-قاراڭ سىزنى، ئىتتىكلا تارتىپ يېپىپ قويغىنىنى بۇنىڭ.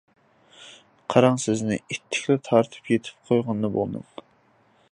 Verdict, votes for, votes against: rejected, 0, 2